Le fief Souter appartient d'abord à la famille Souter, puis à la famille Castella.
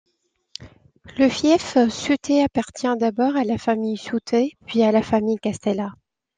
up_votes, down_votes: 1, 2